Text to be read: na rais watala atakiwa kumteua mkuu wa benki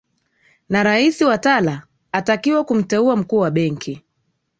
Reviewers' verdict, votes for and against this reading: accepted, 2, 1